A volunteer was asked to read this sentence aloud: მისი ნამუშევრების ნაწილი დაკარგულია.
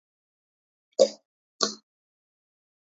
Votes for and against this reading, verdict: 0, 2, rejected